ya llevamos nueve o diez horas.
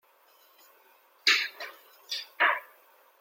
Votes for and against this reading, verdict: 0, 2, rejected